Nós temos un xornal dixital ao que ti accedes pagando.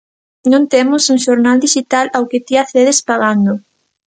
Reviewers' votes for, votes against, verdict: 1, 2, rejected